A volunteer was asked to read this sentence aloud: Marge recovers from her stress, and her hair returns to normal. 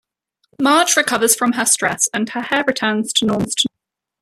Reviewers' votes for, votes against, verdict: 1, 2, rejected